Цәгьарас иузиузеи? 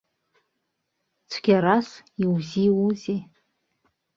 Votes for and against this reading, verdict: 1, 2, rejected